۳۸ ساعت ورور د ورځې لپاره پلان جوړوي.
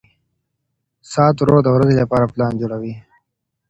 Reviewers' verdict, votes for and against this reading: rejected, 0, 2